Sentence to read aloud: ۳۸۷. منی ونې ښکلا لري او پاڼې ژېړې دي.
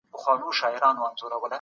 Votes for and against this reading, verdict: 0, 2, rejected